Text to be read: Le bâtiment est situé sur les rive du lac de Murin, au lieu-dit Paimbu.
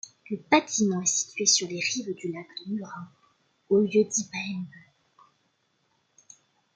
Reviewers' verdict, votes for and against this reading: accepted, 2, 1